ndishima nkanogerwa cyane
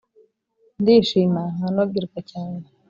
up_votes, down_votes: 2, 0